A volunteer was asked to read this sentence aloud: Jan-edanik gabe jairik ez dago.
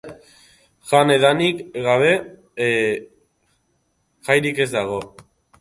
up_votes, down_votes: 1, 2